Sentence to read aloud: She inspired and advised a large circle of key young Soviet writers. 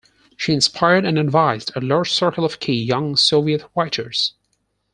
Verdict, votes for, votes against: accepted, 4, 0